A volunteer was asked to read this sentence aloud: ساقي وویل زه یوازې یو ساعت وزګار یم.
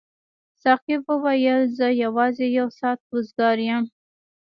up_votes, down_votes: 1, 2